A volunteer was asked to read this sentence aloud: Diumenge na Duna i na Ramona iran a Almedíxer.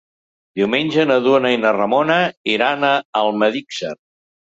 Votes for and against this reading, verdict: 2, 0, accepted